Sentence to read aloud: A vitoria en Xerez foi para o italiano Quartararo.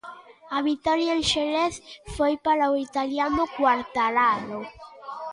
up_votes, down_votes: 0, 2